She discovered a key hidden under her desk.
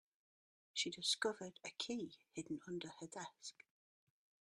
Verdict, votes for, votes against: accepted, 2, 1